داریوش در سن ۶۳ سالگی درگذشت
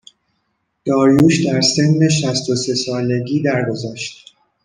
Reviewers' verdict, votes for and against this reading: rejected, 0, 2